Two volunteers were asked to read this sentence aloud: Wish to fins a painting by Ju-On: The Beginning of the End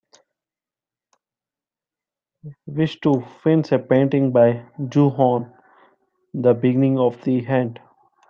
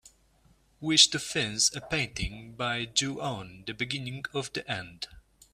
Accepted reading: second